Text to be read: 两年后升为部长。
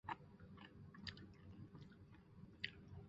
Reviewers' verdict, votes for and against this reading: rejected, 1, 5